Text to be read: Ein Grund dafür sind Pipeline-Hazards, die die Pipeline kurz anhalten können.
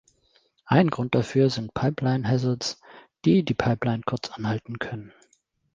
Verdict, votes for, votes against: accepted, 3, 0